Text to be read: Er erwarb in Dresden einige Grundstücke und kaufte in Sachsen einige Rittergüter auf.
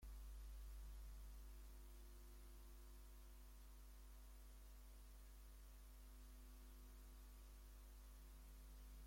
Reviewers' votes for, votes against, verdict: 1, 2, rejected